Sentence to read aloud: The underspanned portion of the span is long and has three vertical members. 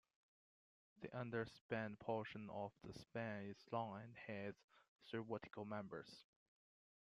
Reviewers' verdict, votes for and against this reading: accepted, 2, 0